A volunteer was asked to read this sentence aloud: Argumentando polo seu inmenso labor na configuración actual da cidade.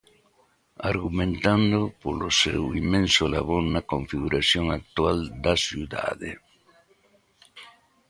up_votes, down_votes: 1, 2